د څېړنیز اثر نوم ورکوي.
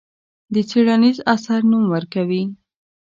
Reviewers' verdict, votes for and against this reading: accepted, 2, 0